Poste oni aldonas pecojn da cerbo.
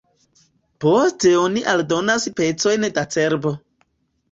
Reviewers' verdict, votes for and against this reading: accepted, 2, 0